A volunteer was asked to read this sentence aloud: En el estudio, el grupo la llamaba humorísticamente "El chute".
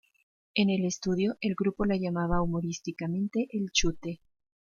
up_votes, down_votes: 2, 0